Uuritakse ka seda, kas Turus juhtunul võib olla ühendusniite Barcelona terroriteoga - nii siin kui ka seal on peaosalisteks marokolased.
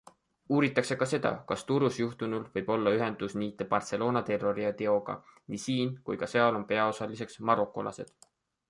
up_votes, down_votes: 2, 0